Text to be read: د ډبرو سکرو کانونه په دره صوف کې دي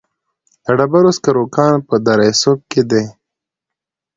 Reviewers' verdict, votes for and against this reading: accepted, 2, 0